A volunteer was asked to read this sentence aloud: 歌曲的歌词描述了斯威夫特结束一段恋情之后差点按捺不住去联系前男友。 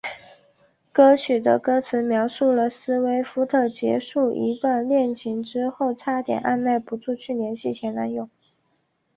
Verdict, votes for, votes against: accepted, 5, 0